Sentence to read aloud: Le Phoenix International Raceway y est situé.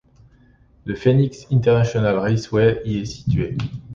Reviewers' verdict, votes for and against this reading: accepted, 2, 0